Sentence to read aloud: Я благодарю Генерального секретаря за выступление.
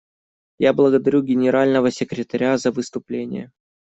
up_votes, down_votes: 2, 0